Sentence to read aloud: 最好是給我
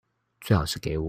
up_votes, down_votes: 1, 2